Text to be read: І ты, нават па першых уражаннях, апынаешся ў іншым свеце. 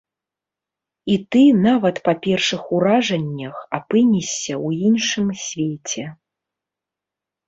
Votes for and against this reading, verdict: 0, 2, rejected